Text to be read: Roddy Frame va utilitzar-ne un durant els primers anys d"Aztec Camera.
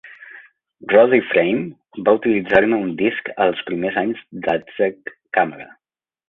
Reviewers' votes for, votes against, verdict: 0, 2, rejected